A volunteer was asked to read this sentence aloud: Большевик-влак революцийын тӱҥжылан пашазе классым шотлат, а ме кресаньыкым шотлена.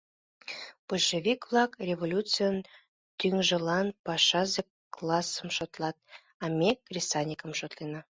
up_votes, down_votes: 2, 0